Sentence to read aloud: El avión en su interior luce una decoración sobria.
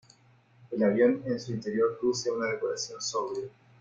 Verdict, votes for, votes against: accepted, 2, 1